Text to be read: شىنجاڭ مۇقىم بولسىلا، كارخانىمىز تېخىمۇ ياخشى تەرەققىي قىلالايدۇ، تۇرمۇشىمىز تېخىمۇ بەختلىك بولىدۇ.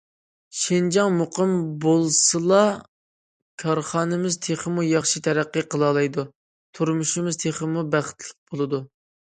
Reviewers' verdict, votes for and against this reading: accepted, 2, 0